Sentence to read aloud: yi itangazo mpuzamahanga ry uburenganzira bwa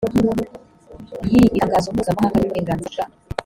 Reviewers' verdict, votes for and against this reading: rejected, 2, 3